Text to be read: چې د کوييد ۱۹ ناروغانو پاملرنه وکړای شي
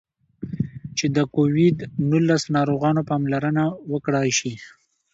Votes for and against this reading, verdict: 0, 2, rejected